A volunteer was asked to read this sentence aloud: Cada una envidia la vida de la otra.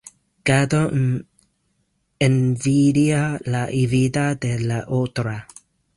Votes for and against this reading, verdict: 0, 2, rejected